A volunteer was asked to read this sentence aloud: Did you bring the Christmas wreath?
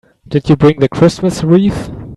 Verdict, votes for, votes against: accepted, 3, 0